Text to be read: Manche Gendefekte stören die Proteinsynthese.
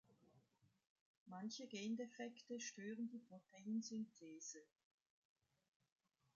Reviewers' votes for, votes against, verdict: 2, 0, accepted